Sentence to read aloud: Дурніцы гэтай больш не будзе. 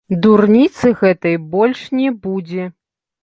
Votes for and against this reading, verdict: 2, 0, accepted